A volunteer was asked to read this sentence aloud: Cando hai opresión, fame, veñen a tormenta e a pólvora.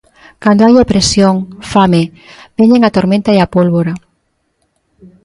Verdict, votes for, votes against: accepted, 3, 0